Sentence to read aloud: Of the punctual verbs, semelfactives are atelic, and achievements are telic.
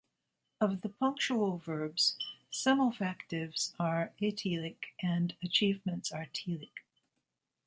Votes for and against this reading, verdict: 2, 0, accepted